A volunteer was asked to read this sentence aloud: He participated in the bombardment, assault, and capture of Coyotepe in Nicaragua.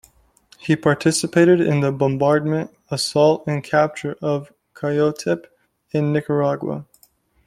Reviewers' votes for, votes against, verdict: 2, 0, accepted